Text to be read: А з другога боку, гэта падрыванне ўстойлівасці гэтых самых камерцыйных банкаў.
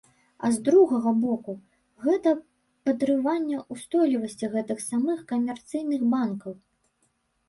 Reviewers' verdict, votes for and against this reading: rejected, 0, 2